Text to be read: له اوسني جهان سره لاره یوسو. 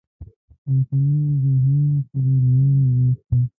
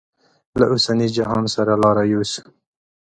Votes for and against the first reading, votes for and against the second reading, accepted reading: 1, 2, 2, 0, second